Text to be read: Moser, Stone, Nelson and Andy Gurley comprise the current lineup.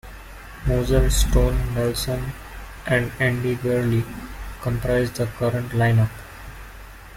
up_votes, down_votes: 2, 0